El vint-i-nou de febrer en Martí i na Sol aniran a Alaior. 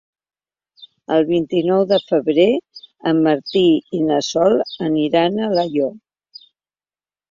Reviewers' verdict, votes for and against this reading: accepted, 2, 1